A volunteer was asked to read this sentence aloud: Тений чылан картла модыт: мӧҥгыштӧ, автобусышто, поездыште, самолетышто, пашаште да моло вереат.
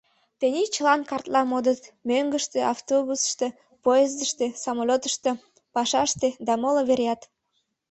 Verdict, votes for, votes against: accepted, 2, 0